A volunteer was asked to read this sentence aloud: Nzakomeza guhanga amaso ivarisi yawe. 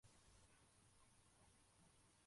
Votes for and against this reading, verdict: 0, 2, rejected